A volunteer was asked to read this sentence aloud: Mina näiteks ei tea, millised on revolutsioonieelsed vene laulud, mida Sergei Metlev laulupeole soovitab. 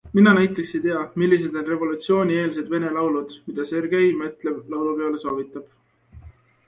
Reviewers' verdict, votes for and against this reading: accepted, 2, 0